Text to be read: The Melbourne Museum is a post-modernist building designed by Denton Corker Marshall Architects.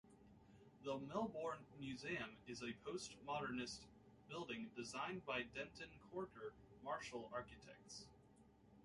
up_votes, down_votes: 1, 2